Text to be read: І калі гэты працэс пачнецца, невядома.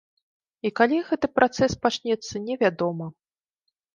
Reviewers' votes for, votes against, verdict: 2, 0, accepted